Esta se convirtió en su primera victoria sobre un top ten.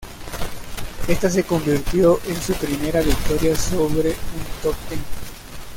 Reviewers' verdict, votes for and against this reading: rejected, 0, 2